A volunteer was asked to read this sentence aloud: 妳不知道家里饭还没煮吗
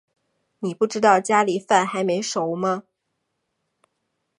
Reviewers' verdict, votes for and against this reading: accepted, 2, 1